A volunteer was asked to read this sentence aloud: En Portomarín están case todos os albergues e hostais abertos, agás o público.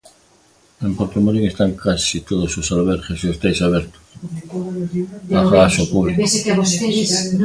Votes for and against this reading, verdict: 0, 2, rejected